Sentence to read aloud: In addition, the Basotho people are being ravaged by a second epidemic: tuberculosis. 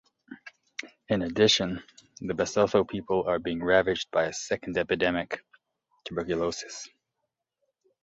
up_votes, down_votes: 2, 0